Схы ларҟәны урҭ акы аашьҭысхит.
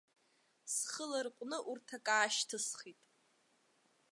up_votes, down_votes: 2, 0